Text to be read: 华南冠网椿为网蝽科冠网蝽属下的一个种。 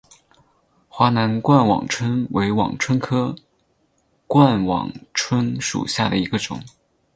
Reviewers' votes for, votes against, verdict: 4, 0, accepted